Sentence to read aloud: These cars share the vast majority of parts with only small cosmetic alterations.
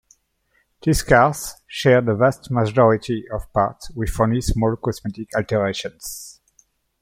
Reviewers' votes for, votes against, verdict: 0, 2, rejected